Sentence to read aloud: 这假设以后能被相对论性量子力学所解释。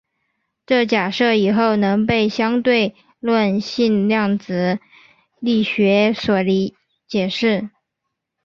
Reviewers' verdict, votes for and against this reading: rejected, 0, 2